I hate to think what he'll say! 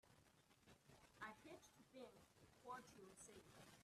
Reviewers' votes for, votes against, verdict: 0, 3, rejected